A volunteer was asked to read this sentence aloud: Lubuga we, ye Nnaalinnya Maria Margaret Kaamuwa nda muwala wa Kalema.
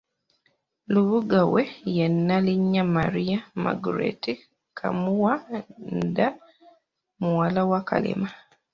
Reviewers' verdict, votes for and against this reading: rejected, 1, 2